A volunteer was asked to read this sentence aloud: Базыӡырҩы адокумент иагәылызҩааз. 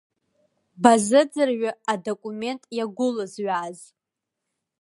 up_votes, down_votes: 2, 0